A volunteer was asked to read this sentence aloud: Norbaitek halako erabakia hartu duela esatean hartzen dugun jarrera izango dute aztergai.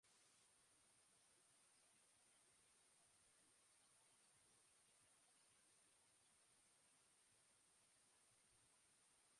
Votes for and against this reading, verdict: 1, 3, rejected